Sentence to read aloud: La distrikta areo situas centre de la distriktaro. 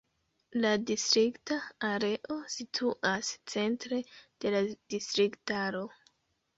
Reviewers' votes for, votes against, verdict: 2, 0, accepted